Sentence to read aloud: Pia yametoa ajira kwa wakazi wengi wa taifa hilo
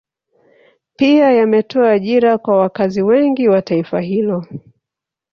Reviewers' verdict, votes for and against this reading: rejected, 1, 2